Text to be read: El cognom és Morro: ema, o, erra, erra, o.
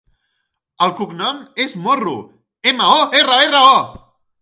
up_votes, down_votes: 1, 2